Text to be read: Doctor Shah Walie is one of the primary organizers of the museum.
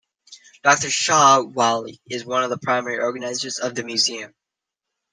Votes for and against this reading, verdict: 2, 1, accepted